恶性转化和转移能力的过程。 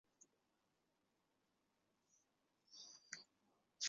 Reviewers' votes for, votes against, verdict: 0, 2, rejected